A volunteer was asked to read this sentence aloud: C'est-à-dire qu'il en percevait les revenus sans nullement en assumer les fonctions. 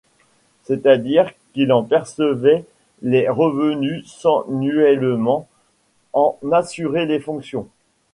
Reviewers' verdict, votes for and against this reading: rejected, 1, 2